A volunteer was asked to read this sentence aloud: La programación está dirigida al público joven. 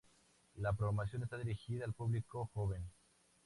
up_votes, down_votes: 0, 2